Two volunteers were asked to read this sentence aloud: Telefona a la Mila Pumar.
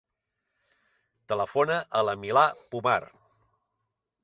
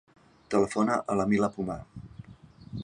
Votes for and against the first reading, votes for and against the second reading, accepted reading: 1, 2, 3, 0, second